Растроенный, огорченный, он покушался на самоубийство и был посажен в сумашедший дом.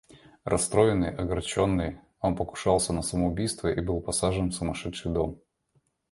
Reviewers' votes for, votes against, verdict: 2, 0, accepted